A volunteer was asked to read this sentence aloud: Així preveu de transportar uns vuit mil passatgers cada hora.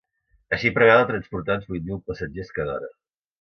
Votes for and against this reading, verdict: 0, 2, rejected